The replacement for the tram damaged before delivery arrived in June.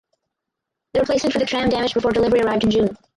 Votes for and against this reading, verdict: 0, 4, rejected